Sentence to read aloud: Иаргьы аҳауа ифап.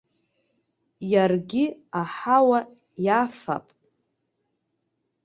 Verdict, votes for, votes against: rejected, 0, 2